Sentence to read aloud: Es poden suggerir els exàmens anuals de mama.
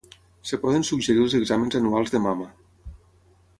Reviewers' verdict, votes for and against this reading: rejected, 3, 6